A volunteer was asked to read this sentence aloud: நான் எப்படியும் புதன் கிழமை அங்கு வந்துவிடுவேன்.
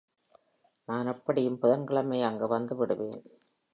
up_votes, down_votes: 4, 0